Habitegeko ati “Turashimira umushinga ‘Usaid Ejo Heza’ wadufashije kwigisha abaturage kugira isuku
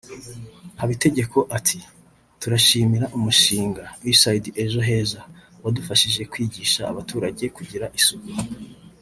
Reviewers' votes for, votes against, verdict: 2, 0, accepted